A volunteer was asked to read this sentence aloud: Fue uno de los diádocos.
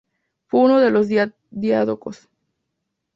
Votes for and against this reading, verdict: 0, 2, rejected